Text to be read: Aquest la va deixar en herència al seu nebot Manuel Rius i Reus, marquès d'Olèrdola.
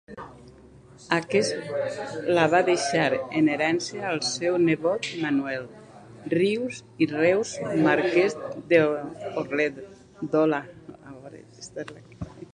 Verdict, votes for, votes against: rejected, 0, 2